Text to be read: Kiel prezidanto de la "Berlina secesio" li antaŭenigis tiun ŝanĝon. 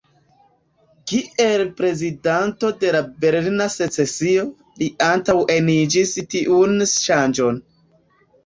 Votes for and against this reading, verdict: 0, 3, rejected